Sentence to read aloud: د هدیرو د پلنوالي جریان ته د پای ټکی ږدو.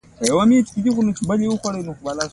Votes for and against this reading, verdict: 1, 2, rejected